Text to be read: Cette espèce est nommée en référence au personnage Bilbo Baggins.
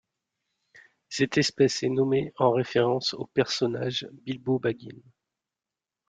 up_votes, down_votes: 2, 0